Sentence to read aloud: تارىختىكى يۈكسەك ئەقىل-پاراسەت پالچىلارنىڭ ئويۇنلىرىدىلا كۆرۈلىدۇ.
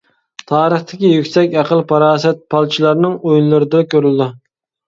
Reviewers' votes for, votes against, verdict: 0, 2, rejected